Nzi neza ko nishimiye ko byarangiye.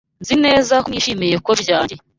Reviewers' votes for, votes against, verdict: 1, 2, rejected